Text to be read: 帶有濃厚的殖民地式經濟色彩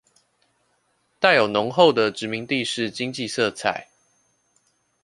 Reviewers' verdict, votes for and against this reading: accepted, 2, 0